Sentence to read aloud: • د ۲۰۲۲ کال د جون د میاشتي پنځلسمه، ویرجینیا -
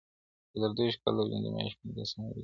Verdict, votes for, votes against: rejected, 0, 2